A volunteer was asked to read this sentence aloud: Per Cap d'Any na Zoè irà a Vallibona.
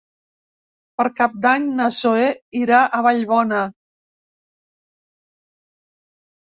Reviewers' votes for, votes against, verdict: 1, 2, rejected